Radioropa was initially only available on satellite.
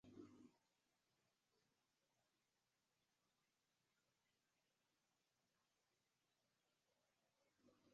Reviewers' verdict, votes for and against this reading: rejected, 0, 2